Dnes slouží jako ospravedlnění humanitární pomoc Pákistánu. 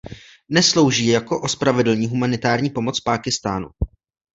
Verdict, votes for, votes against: rejected, 0, 2